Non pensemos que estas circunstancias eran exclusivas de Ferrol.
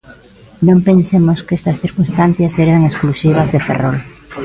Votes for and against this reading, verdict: 2, 0, accepted